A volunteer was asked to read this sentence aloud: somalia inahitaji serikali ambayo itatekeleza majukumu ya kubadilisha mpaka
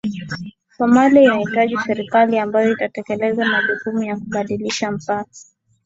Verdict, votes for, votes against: accepted, 2, 0